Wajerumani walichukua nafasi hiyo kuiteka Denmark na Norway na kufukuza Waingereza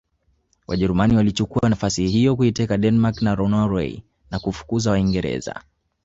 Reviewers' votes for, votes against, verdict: 1, 2, rejected